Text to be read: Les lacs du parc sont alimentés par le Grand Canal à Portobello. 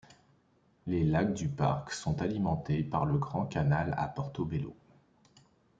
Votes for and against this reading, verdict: 2, 0, accepted